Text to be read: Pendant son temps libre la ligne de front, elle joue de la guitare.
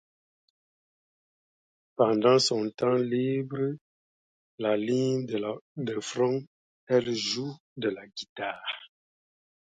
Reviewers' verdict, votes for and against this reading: accepted, 2, 0